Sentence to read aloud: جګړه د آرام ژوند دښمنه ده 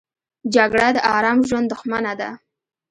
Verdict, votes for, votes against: accepted, 2, 0